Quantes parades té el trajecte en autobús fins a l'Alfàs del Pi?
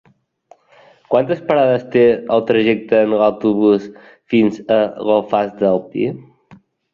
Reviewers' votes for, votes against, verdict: 2, 0, accepted